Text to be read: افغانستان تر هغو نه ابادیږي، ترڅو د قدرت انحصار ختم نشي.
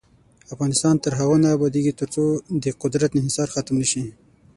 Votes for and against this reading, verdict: 6, 3, accepted